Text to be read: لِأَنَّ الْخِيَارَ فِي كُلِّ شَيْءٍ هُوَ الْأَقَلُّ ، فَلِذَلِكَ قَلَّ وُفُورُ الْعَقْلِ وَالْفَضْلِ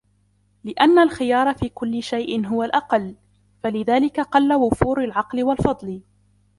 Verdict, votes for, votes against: accepted, 2, 0